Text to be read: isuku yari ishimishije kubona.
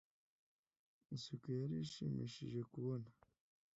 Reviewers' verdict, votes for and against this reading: accepted, 2, 0